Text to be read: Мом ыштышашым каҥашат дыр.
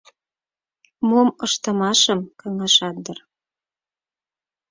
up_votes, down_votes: 0, 4